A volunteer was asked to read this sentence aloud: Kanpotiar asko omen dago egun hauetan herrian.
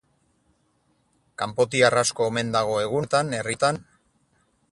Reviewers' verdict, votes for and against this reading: rejected, 0, 4